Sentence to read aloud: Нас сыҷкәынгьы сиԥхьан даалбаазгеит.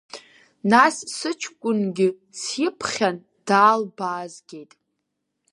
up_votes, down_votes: 4, 0